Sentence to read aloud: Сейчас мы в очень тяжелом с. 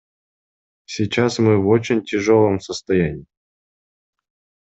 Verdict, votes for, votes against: rejected, 0, 2